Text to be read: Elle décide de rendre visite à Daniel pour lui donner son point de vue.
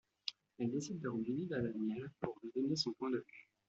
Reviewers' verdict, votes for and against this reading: rejected, 1, 2